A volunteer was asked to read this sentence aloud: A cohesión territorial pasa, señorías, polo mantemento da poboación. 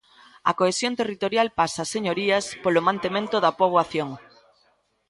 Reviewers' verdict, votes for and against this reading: rejected, 0, 2